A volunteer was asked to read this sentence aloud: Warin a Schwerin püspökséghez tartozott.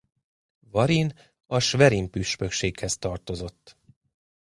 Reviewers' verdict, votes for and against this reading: accepted, 2, 0